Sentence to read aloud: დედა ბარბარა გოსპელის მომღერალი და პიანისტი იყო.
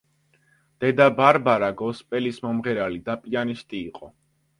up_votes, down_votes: 2, 0